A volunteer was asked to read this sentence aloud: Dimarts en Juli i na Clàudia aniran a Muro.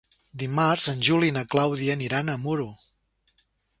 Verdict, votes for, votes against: accepted, 3, 0